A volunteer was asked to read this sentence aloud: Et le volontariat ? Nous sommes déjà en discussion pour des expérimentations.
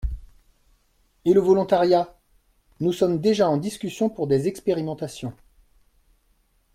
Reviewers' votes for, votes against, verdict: 2, 1, accepted